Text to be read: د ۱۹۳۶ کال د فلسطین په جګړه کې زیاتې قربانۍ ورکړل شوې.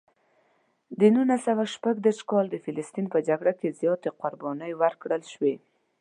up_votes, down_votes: 0, 2